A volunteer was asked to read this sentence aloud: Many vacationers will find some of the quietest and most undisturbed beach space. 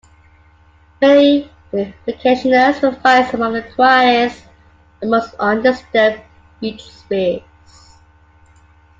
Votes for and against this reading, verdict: 2, 1, accepted